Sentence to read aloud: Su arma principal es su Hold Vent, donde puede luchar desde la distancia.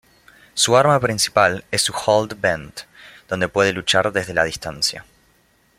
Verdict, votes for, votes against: accepted, 2, 0